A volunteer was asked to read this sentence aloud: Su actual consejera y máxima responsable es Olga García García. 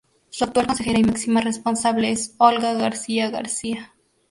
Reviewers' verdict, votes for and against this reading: rejected, 2, 2